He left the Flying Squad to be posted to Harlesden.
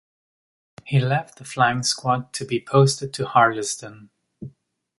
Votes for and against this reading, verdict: 2, 0, accepted